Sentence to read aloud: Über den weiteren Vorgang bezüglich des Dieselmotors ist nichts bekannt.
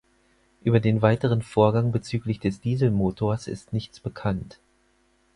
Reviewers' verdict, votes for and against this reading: accepted, 4, 0